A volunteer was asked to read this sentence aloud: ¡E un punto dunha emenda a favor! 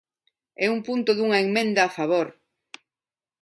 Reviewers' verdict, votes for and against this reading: rejected, 1, 2